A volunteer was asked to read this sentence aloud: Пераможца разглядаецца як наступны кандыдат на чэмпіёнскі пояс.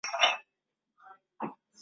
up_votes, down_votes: 0, 2